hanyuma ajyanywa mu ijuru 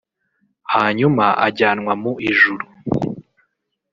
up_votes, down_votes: 1, 2